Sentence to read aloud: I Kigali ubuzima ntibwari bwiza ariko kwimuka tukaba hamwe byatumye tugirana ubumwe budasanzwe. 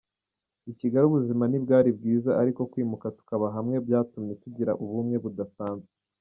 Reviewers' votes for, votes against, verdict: 2, 1, accepted